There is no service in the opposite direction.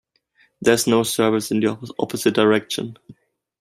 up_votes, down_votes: 0, 2